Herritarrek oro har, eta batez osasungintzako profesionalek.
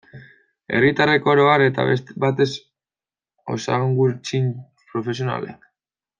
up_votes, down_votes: 0, 2